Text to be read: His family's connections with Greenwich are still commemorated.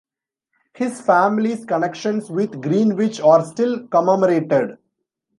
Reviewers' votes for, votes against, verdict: 1, 2, rejected